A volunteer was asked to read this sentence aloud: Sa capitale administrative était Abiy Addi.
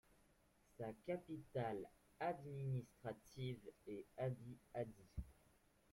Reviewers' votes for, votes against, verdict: 1, 2, rejected